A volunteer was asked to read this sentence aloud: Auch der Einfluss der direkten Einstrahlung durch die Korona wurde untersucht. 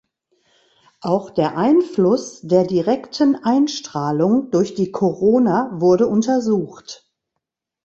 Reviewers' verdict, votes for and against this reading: accepted, 2, 0